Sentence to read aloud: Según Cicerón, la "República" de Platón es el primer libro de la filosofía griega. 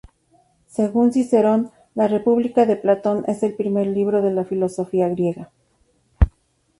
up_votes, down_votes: 2, 0